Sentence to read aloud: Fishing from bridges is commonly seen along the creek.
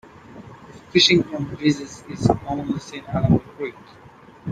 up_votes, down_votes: 0, 2